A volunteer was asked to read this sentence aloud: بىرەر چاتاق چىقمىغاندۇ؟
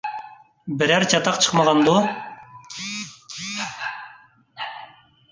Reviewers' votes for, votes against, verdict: 0, 2, rejected